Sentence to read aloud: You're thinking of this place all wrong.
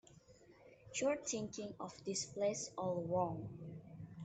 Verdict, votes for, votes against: accepted, 2, 0